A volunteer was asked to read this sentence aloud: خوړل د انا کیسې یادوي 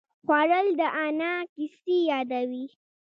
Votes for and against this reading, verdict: 0, 2, rejected